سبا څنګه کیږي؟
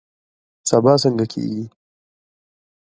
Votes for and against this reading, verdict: 2, 1, accepted